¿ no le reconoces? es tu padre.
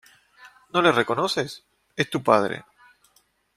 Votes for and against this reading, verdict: 1, 2, rejected